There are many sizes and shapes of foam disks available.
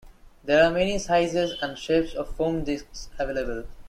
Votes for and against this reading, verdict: 2, 0, accepted